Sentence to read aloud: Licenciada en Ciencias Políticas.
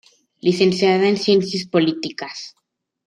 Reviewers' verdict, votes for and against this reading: accepted, 2, 0